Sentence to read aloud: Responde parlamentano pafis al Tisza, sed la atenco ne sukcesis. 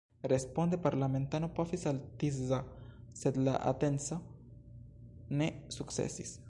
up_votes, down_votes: 2, 0